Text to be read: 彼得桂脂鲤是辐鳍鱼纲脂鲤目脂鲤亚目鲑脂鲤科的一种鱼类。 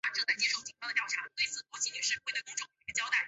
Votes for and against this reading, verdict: 2, 4, rejected